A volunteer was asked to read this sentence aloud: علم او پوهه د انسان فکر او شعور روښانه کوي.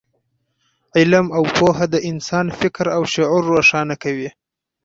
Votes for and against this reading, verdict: 2, 4, rejected